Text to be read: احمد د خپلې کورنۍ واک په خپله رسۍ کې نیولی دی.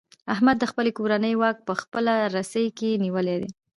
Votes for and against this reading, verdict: 1, 2, rejected